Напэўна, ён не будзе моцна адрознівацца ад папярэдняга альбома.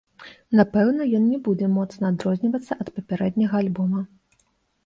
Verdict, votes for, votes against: accepted, 2, 0